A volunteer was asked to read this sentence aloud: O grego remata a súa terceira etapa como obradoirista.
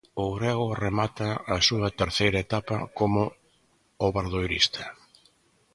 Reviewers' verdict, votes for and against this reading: accepted, 2, 0